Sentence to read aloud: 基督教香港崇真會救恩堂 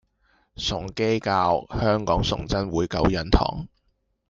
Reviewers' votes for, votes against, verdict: 1, 2, rejected